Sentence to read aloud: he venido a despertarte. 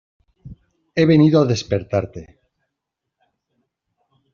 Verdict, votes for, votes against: accepted, 2, 0